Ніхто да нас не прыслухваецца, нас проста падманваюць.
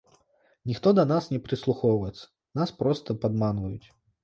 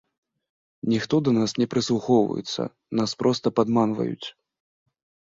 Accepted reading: second